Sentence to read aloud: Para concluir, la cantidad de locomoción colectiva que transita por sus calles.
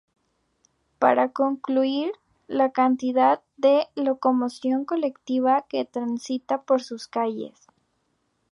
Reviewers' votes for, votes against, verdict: 2, 0, accepted